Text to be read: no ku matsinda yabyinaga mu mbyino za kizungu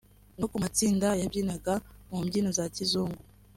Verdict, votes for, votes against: accepted, 2, 0